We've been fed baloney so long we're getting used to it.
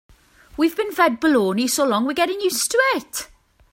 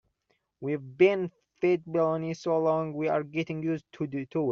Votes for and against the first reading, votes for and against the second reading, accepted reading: 2, 0, 0, 2, first